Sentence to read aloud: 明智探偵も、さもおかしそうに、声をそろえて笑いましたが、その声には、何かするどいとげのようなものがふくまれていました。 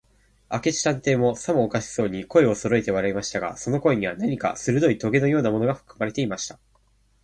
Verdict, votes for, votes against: accepted, 2, 0